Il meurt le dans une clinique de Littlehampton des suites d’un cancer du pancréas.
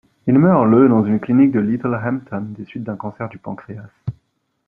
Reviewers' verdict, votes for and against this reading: rejected, 1, 2